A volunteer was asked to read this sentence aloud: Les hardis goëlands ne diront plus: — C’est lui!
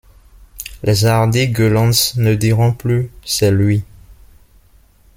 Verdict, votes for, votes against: rejected, 0, 2